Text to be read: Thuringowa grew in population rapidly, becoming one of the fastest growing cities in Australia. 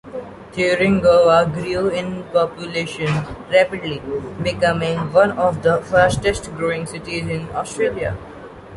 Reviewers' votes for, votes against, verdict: 2, 0, accepted